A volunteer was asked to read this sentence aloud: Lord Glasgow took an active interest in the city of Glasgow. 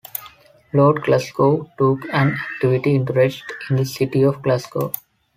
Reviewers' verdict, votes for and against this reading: rejected, 0, 2